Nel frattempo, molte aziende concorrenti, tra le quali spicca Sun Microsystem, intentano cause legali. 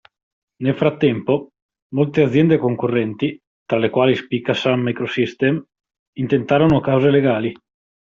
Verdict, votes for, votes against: rejected, 0, 2